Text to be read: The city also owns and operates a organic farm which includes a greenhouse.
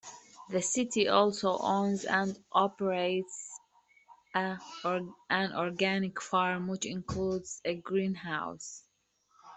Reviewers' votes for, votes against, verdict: 0, 2, rejected